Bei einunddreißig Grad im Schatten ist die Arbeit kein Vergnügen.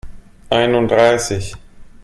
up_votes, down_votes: 0, 2